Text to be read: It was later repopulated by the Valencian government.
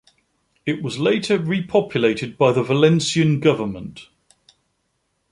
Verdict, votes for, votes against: accepted, 2, 0